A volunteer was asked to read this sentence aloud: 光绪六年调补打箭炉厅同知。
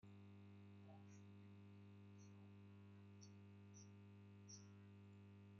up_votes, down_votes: 0, 2